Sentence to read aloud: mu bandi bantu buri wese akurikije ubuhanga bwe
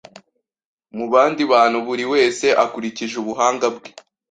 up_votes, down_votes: 2, 0